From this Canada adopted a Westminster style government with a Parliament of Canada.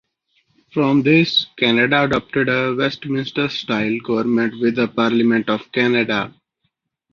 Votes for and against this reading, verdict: 2, 0, accepted